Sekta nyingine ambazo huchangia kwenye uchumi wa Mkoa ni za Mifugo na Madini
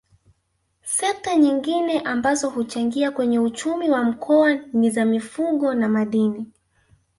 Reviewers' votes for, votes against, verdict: 2, 1, accepted